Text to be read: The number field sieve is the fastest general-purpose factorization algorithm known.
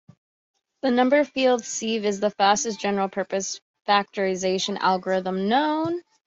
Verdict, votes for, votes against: accepted, 2, 0